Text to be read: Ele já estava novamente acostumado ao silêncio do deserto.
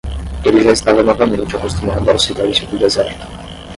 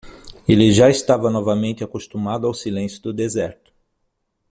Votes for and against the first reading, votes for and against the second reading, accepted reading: 5, 5, 6, 3, second